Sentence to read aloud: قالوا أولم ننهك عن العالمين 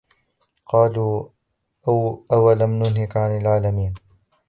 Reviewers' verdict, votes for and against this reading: rejected, 0, 2